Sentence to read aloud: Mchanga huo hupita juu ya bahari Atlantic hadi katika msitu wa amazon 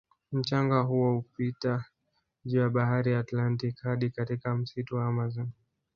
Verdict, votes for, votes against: accepted, 4, 0